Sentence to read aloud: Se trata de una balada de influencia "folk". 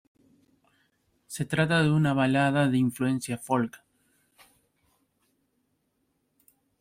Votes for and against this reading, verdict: 2, 0, accepted